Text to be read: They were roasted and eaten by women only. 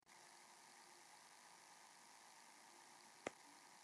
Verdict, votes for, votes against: rejected, 0, 2